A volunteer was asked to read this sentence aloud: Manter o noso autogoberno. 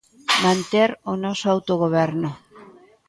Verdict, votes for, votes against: rejected, 1, 2